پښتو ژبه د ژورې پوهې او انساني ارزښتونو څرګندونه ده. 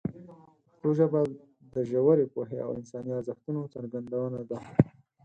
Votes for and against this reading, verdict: 4, 2, accepted